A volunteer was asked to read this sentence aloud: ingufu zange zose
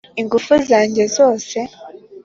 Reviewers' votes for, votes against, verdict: 2, 0, accepted